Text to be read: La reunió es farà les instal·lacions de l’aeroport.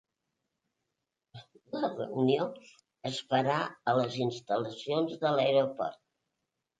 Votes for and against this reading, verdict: 2, 1, accepted